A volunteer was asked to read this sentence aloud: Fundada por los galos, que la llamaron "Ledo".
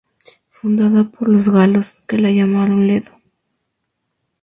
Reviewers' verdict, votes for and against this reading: rejected, 0, 2